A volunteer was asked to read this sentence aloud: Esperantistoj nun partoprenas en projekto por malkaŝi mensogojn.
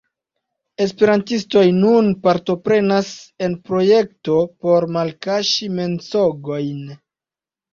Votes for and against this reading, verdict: 2, 1, accepted